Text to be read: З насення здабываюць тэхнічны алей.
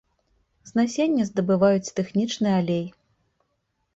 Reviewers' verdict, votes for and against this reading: accepted, 2, 0